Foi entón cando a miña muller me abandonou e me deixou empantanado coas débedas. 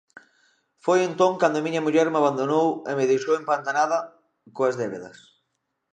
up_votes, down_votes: 0, 2